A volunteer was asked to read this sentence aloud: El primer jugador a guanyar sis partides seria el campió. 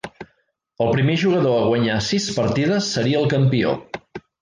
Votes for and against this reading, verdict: 3, 0, accepted